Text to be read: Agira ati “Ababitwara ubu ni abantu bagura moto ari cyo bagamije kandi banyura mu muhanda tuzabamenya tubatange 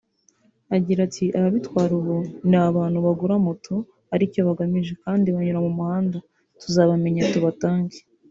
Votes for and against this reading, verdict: 1, 2, rejected